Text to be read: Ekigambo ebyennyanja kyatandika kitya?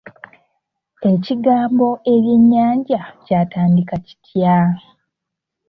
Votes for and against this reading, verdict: 3, 0, accepted